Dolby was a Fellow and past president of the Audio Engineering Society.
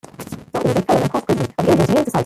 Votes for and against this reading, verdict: 0, 2, rejected